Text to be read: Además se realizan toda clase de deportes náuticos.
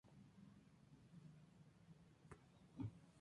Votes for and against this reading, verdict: 2, 0, accepted